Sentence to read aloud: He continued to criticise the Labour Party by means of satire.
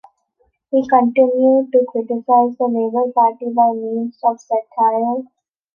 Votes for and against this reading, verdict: 2, 0, accepted